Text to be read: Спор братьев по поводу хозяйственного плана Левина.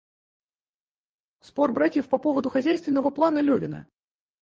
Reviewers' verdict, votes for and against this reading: rejected, 0, 4